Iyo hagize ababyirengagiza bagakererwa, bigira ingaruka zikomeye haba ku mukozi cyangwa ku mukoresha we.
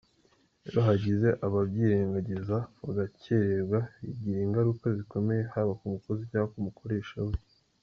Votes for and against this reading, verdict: 2, 0, accepted